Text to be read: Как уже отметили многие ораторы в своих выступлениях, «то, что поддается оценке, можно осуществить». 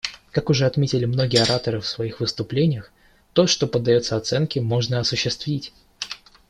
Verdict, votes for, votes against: accepted, 2, 0